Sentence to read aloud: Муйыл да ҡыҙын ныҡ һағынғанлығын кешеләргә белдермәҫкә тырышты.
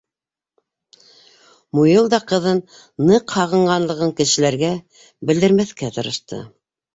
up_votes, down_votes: 2, 0